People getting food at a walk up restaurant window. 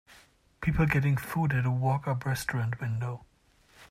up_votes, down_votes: 3, 1